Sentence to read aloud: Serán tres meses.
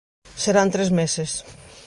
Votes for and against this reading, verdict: 2, 0, accepted